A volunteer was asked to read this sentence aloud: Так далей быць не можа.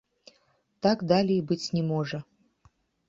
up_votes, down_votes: 2, 0